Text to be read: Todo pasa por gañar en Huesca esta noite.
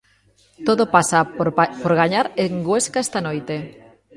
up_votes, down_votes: 0, 2